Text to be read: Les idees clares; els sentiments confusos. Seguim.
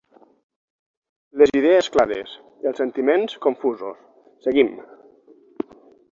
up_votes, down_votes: 6, 3